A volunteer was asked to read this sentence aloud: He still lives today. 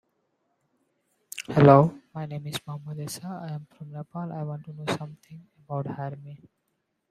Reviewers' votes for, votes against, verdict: 0, 2, rejected